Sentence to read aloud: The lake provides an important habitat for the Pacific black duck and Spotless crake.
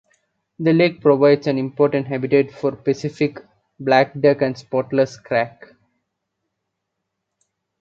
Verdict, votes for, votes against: accepted, 2, 1